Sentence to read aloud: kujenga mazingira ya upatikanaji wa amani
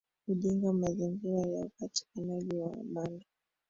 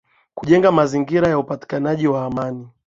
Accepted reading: second